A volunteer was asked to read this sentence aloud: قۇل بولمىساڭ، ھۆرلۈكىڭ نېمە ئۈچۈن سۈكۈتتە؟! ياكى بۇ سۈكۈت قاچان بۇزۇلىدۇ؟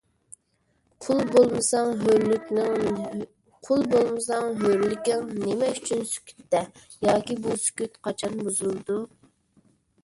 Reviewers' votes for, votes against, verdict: 0, 2, rejected